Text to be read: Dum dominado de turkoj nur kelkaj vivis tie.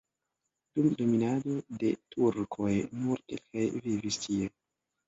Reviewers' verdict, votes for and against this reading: rejected, 1, 2